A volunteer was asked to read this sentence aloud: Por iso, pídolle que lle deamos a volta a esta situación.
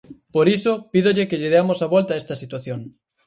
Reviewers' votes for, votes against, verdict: 4, 0, accepted